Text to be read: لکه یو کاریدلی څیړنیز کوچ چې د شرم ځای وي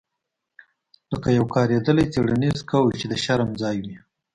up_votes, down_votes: 1, 2